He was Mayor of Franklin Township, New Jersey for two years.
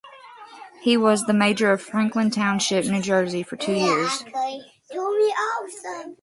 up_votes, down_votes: 0, 2